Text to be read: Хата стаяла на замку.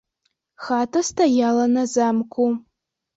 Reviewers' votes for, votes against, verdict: 1, 2, rejected